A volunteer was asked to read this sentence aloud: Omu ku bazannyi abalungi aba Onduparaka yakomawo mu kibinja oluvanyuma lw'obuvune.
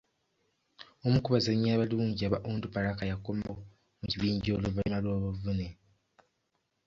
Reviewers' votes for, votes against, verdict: 1, 2, rejected